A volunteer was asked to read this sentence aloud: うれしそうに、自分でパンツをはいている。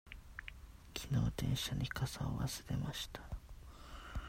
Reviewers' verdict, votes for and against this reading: rejected, 0, 2